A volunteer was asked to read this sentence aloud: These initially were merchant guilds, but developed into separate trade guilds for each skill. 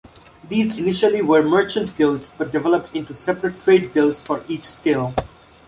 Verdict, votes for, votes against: accepted, 2, 1